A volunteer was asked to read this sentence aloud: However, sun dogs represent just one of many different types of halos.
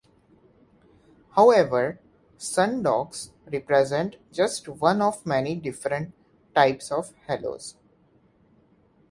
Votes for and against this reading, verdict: 1, 2, rejected